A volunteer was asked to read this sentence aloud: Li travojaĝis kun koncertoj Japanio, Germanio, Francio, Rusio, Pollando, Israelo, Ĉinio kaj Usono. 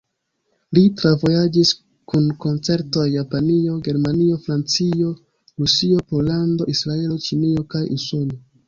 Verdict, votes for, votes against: rejected, 1, 2